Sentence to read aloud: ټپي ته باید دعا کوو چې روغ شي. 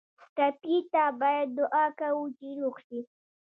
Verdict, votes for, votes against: rejected, 0, 2